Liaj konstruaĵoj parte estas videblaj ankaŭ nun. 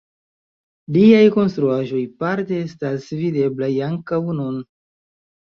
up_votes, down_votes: 2, 0